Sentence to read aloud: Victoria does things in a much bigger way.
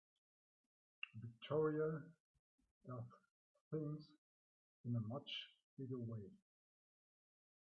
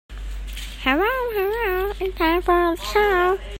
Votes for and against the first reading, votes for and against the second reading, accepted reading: 2, 1, 0, 2, first